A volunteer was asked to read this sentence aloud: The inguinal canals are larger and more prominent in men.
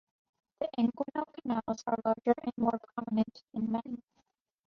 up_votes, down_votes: 0, 2